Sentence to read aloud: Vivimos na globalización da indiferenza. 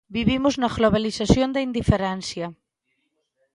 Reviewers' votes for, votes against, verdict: 0, 2, rejected